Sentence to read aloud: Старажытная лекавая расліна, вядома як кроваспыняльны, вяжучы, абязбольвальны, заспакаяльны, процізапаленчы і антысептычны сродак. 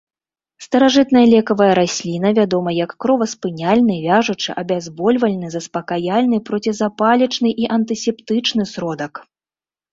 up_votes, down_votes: 0, 2